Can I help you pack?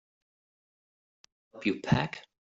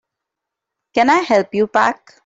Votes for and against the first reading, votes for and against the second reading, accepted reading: 0, 3, 2, 0, second